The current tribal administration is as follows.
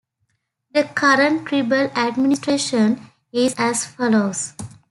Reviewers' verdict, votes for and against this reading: rejected, 0, 2